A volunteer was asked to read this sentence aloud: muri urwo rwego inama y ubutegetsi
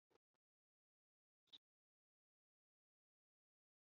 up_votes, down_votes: 2, 3